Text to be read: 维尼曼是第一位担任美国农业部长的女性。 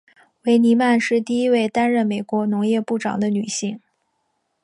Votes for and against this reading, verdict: 2, 1, accepted